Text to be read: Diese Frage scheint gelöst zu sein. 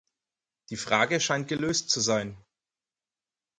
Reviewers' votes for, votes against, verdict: 0, 4, rejected